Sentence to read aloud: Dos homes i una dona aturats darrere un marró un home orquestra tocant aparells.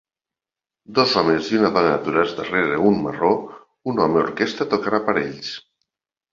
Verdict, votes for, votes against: accepted, 2, 0